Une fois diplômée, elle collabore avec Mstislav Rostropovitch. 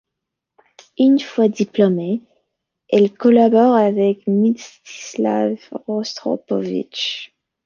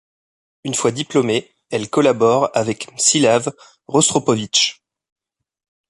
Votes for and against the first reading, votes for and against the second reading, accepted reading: 2, 1, 1, 2, first